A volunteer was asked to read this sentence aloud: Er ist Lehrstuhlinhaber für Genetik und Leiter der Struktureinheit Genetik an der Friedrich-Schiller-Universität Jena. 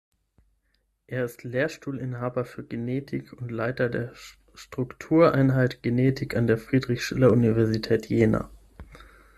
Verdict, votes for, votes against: rejected, 3, 6